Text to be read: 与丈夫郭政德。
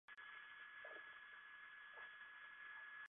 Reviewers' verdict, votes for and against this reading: rejected, 0, 3